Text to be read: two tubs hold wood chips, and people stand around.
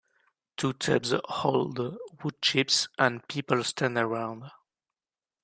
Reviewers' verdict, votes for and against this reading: rejected, 0, 2